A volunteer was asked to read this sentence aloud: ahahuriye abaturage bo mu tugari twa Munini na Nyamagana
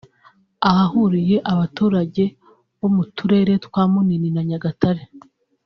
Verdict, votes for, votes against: rejected, 0, 2